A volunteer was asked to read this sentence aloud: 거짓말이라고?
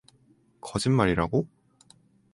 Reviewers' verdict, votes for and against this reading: accepted, 4, 0